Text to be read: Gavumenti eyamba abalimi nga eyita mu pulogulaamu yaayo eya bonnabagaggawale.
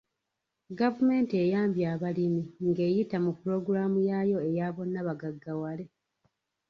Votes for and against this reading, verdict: 0, 2, rejected